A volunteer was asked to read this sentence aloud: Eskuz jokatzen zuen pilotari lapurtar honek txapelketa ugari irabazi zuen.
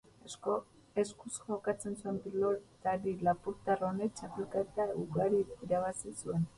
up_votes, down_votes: 0, 4